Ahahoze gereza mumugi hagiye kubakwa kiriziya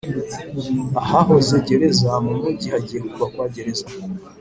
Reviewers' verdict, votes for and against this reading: rejected, 1, 2